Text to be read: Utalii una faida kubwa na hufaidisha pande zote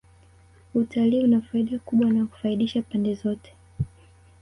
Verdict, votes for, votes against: accepted, 3, 0